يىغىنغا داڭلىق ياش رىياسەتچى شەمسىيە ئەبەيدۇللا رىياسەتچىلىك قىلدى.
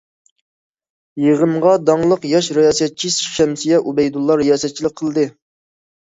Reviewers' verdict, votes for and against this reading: accepted, 2, 0